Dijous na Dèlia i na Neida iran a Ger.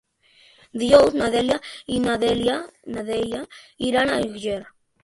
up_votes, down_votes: 0, 2